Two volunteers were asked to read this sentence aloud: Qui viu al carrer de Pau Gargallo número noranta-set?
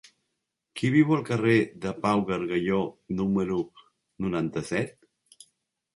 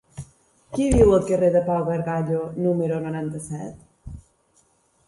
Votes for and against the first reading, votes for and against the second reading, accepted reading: 0, 2, 5, 1, second